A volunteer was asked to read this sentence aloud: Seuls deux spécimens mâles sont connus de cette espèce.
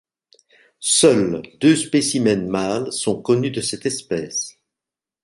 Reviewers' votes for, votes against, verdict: 2, 0, accepted